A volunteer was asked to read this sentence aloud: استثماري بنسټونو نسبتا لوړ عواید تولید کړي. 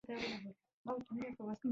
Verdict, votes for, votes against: rejected, 0, 2